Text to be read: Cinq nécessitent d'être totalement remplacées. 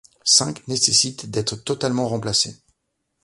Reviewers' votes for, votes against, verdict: 2, 0, accepted